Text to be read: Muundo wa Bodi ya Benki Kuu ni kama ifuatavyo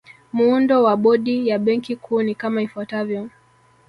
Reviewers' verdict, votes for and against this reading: rejected, 1, 2